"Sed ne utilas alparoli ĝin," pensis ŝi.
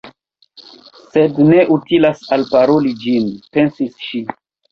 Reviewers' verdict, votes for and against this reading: rejected, 0, 2